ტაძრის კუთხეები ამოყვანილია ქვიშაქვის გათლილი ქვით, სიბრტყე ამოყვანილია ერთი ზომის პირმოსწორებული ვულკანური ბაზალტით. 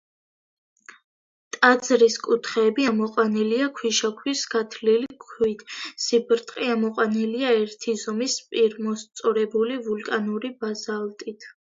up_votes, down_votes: 1, 2